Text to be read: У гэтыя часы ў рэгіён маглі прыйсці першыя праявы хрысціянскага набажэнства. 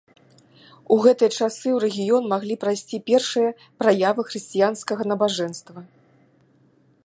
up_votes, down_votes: 0, 2